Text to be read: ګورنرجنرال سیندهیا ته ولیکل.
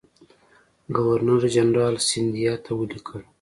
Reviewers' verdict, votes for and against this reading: rejected, 1, 2